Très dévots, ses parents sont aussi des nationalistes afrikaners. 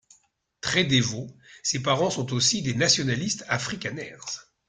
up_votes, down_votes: 1, 2